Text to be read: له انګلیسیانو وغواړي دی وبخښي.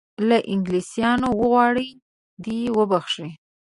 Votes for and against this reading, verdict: 2, 1, accepted